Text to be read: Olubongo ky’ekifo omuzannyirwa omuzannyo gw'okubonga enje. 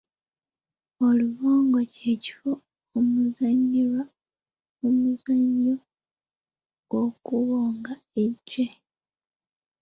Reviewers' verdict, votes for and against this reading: rejected, 0, 2